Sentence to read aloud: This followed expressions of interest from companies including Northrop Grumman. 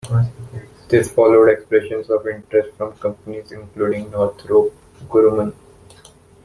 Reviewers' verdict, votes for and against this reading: rejected, 1, 2